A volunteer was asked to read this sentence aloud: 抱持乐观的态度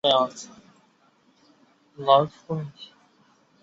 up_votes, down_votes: 0, 2